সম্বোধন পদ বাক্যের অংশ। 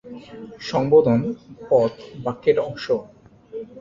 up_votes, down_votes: 0, 3